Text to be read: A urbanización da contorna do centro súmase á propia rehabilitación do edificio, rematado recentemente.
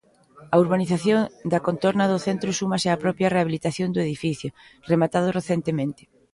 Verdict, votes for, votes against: accepted, 2, 0